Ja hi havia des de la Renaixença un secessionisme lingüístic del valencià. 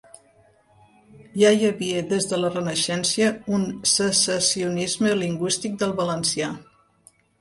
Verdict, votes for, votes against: rejected, 1, 2